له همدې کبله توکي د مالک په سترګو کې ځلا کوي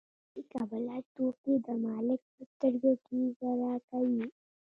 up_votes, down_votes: 0, 2